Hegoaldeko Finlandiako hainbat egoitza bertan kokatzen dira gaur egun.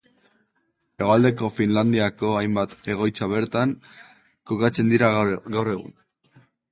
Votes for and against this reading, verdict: 0, 2, rejected